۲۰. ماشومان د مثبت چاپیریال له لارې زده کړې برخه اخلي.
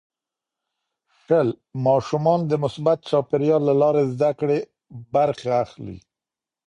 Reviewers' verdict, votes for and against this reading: rejected, 0, 2